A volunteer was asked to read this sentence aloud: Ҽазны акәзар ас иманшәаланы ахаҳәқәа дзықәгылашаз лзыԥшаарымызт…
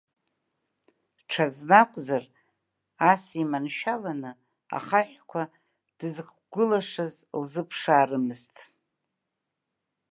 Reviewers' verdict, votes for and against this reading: rejected, 1, 2